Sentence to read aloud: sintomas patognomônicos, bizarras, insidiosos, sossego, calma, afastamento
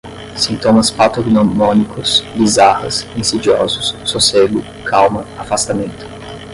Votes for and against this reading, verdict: 5, 5, rejected